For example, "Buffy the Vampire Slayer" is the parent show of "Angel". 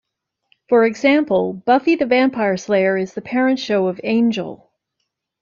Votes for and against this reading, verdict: 2, 0, accepted